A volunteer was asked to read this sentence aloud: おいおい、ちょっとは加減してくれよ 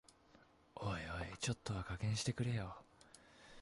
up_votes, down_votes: 2, 0